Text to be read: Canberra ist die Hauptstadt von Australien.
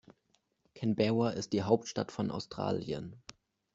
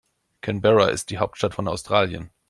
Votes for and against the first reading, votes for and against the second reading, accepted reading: 1, 2, 2, 0, second